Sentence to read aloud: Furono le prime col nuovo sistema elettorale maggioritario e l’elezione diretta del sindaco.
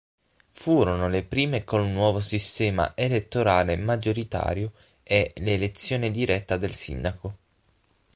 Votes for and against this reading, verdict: 6, 0, accepted